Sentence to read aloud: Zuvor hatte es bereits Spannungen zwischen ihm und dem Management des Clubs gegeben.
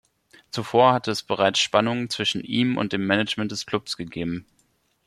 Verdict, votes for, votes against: accepted, 2, 0